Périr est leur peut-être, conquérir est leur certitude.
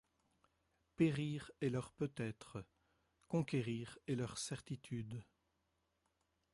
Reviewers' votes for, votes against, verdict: 2, 0, accepted